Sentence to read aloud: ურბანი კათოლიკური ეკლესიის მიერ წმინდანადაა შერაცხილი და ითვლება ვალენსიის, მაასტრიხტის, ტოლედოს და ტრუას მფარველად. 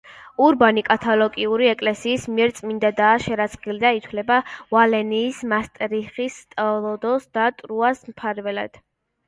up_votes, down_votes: 0, 2